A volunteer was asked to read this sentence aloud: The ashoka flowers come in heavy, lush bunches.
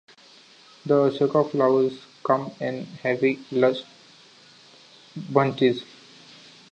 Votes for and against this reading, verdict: 2, 1, accepted